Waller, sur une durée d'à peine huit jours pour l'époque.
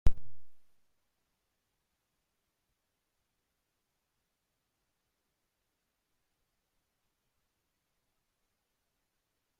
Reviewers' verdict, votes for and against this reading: rejected, 0, 2